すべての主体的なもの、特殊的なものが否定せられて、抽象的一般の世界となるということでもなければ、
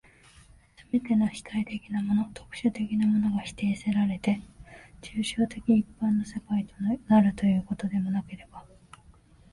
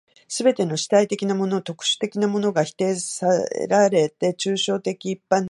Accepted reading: first